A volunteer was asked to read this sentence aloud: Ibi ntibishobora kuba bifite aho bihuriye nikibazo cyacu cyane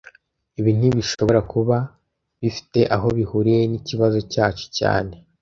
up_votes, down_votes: 2, 0